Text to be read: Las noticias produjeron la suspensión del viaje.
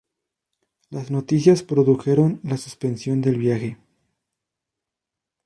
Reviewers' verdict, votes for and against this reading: accepted, 2, 0